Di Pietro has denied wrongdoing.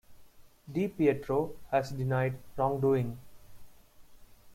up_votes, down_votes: 2, 0